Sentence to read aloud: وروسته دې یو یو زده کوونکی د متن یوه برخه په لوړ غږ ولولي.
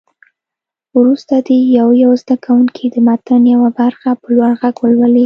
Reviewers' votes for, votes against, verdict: 2, 0, accepted